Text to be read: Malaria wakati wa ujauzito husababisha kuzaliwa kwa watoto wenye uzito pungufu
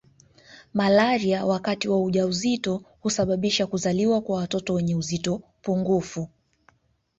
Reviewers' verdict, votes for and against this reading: rejected, 1, 2